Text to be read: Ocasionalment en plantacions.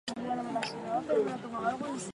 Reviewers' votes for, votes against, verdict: 0, 4, rejected